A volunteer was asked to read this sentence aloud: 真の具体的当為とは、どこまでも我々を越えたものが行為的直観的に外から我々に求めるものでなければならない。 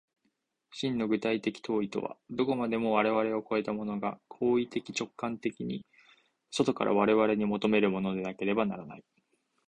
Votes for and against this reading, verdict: 2, 0, accepted